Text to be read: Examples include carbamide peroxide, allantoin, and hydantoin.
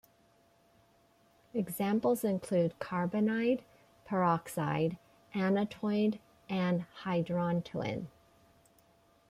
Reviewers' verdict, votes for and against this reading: rejected, 1, 2